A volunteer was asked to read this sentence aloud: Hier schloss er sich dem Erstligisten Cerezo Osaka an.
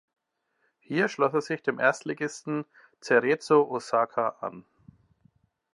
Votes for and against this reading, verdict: 2, 0, accepted